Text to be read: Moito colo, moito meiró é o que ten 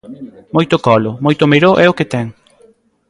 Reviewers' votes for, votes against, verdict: 0, 2, rejected